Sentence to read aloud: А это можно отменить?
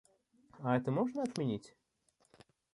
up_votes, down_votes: 2, 0